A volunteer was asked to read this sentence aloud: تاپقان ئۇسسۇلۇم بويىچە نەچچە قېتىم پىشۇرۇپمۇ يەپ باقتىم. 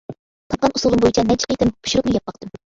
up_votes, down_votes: 1, 2